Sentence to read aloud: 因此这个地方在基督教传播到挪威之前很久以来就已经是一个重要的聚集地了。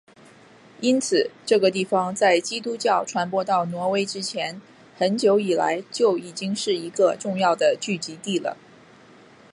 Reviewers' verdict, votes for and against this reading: accepted, 2, 0